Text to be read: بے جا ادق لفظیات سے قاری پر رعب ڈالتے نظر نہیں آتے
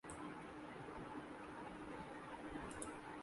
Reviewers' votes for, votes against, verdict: 0, 2, rejected